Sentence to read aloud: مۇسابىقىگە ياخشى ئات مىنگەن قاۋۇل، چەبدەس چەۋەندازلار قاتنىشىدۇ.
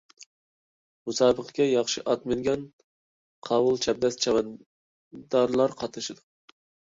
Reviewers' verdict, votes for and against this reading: rejected, 0, 2